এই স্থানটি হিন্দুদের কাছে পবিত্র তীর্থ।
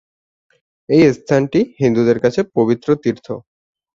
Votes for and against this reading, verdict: 2, 0, accepted